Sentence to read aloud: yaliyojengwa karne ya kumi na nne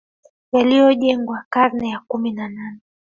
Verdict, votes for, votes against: rejected, 2, 3